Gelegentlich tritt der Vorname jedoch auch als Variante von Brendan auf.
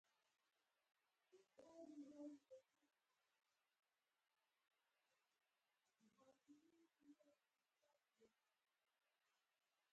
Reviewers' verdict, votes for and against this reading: rejected, 0, 4